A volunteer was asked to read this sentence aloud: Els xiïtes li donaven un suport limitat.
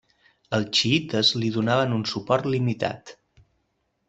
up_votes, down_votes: 2, 0